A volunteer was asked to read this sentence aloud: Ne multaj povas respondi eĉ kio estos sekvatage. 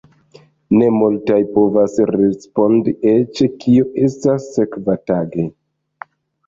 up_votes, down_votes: 1, 2